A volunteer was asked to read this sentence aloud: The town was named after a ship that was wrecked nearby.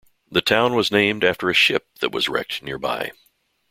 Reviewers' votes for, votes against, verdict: 1, 2, rejected